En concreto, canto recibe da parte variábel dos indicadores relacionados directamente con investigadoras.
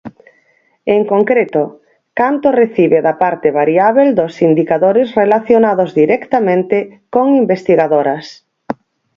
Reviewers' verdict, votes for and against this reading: accepted, 4, 0